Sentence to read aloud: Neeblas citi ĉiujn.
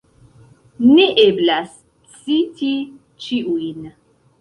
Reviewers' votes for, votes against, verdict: 3, 2, accepted